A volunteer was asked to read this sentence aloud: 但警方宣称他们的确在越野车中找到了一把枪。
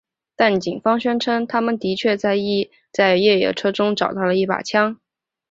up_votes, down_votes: 6, 0